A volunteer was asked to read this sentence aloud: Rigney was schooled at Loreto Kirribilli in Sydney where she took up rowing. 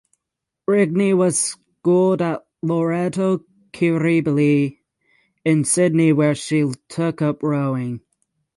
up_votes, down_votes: 0, 3